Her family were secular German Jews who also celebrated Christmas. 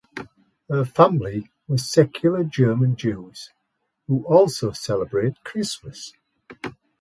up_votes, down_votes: 2, 1